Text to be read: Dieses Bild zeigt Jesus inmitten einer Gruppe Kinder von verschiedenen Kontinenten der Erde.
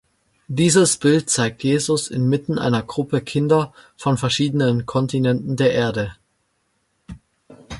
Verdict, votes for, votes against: accepted, 2, 0